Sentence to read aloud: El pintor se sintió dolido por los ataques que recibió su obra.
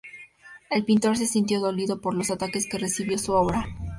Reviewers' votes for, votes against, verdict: 2, 0, accepted